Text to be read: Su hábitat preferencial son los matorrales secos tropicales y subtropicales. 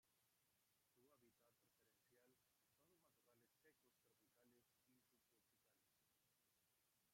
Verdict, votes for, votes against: rejected, 0, 2